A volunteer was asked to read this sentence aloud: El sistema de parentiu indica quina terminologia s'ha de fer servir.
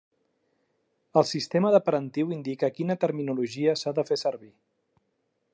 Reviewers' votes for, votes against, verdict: 2, 0, accepted